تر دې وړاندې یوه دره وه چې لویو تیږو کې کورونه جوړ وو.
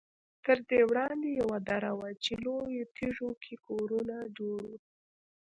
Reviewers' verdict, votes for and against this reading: rejected, 1, 2